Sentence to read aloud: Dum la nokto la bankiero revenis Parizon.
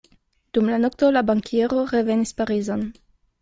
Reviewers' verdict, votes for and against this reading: accepted, 2, 0